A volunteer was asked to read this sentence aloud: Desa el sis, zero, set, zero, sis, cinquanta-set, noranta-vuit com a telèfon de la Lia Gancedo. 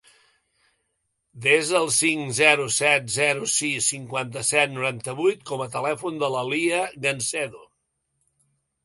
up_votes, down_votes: 1, 2